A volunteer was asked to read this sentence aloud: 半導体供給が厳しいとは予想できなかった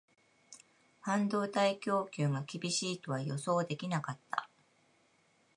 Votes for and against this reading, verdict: 2, 0, accepted